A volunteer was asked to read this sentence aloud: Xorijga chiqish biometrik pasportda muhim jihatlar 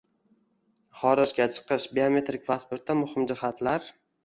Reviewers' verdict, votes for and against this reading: accepted, 2, 0